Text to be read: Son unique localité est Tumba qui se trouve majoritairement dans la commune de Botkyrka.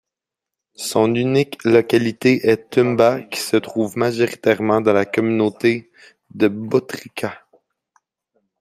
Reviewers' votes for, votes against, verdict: 0, 2, rejected